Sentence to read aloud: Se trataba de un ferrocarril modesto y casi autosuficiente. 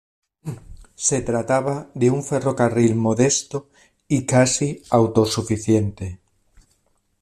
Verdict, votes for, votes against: accepted, 2, 0